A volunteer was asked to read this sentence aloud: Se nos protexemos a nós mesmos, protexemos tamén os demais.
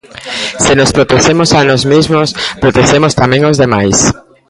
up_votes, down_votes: 1, 2